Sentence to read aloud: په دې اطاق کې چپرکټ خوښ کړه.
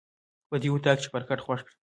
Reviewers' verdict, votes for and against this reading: accepted, 2, 0